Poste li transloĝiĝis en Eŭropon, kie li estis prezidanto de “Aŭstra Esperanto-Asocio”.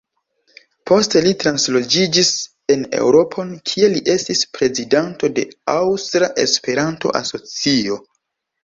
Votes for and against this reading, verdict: 2, 0, accepted